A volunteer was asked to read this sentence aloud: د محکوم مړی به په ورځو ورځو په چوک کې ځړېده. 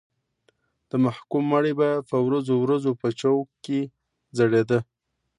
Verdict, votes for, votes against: accepted, 2, 0